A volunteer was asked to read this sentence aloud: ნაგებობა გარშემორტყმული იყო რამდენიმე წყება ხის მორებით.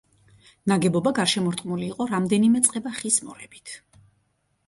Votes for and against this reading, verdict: 2, 0, accepted